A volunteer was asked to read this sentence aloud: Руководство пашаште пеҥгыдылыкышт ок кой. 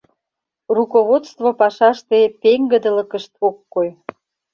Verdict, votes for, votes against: accepted, 2, 0